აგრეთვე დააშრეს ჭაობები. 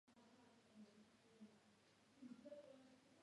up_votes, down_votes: 0, 2